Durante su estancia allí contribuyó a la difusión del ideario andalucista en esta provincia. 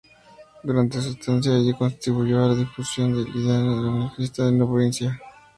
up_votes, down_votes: 0, 2